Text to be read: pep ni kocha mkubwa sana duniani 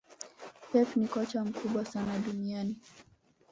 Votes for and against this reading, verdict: 0, 2, rejected